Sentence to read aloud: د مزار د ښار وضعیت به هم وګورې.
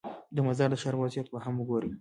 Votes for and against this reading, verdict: 1, 2, rejected